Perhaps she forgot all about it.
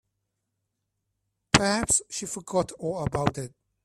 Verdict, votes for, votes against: rejected, 2, 4